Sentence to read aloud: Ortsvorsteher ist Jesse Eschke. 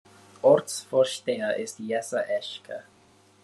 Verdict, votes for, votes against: accepted, 2, 0